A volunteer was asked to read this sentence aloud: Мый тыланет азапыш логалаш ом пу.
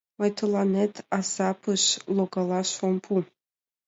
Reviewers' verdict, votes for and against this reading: accepted, 2, 0